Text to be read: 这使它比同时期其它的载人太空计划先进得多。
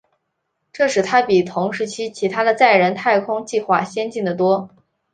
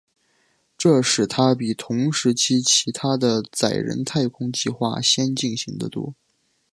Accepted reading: first